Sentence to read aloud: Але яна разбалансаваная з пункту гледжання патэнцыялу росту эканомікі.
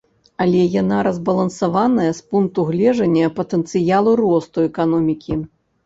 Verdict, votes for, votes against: rejected, 1, 2